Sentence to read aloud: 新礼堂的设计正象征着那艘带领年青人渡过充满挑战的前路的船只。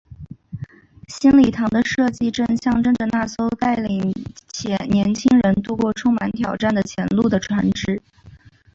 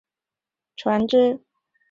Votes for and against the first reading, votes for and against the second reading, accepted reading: 2, 1, 0, 5, first